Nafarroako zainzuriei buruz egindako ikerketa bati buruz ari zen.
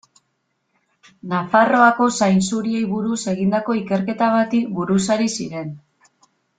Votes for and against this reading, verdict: 1, 2, rejected